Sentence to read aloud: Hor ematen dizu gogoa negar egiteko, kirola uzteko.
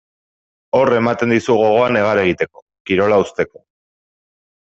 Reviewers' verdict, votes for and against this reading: accepted, 2, 0